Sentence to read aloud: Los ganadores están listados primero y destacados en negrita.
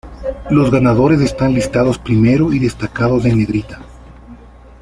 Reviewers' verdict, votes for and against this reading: accepted, 2, 0